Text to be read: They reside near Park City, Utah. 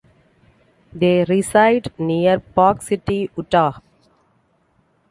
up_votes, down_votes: 2, 0